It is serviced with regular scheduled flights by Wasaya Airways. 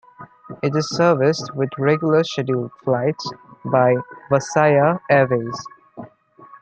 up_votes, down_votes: 2, 0